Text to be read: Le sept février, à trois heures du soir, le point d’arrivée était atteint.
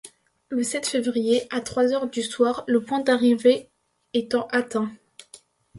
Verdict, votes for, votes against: rejected, 1, 2